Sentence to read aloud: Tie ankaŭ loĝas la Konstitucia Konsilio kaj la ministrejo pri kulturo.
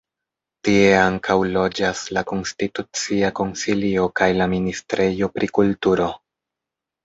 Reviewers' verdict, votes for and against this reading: accepted, 2, 0